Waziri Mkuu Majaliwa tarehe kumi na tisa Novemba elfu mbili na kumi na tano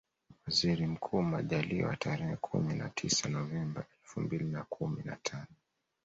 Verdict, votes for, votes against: rejected, 1, 2